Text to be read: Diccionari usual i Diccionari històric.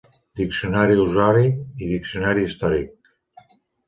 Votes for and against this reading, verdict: 0, 2, rejected